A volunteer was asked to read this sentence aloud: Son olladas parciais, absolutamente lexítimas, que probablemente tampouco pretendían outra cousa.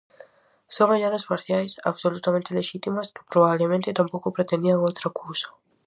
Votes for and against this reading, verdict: 4, 0, accepted